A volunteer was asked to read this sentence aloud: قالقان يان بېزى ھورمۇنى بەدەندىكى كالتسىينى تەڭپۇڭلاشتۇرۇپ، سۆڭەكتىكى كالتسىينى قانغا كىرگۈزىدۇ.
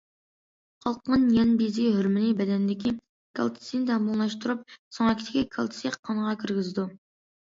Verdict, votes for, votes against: rejected, 0, 2